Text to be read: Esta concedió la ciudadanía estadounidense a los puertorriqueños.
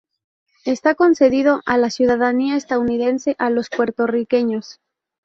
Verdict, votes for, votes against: rejected, 0, 2